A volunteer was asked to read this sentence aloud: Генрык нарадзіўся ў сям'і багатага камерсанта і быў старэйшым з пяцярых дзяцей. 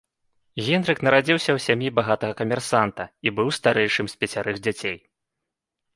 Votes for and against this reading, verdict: 2, 0, accepted